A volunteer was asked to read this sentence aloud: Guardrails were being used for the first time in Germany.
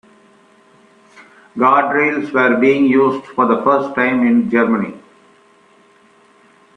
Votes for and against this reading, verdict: 2, 0, accepted